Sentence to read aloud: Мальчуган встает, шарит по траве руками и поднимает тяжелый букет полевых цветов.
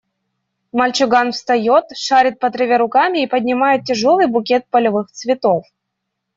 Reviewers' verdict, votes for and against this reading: accepted, 2, 0